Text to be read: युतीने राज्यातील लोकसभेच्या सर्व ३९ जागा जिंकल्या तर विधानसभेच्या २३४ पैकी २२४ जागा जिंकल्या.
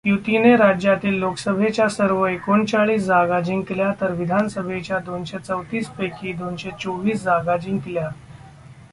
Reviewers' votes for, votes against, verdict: 0, 2, rejected